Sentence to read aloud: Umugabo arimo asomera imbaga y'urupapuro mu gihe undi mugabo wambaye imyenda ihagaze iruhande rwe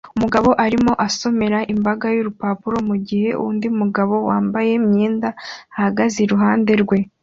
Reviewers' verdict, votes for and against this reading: accepted, 3, 0